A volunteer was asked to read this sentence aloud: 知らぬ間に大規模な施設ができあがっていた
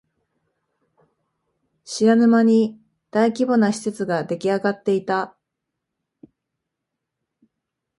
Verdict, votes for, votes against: accepted, 2, 0